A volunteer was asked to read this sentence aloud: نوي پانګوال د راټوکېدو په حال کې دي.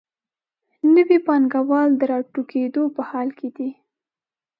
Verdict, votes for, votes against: accepted, 2, 0